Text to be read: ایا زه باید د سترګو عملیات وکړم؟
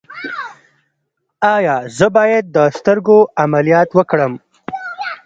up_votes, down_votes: 1, 2